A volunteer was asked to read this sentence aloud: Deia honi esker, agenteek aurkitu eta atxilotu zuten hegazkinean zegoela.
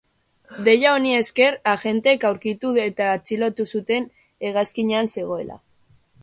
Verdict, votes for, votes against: rejected, 1, 2